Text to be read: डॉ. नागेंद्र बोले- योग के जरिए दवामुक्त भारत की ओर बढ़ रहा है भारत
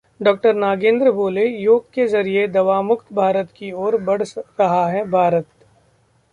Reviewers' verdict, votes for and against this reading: accepted, 2, 0